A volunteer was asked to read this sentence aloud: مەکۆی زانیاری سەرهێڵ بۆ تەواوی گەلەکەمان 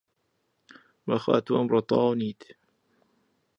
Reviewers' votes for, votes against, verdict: 0, 2, rejected